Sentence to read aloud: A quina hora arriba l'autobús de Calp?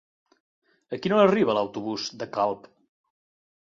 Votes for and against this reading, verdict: 0, 2, rejected